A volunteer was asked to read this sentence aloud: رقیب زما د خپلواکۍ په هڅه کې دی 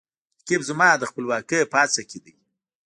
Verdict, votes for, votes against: rejected, 0, 2